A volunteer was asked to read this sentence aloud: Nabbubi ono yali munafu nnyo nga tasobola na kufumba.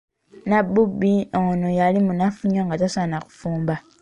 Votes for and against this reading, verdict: 1, 2, rejected